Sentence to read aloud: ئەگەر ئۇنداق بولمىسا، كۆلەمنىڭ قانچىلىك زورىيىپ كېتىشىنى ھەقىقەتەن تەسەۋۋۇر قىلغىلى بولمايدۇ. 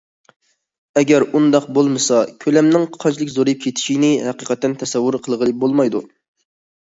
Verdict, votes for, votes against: accepted, 2, 0